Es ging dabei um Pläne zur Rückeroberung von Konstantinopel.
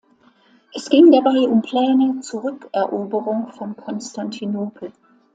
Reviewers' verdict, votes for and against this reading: accepted, 2, 0